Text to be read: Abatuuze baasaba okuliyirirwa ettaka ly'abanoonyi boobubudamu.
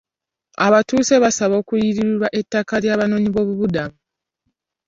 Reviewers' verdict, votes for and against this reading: rejected, 1, 2